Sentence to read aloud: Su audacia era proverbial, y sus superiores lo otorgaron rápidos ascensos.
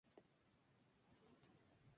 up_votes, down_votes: 0, 2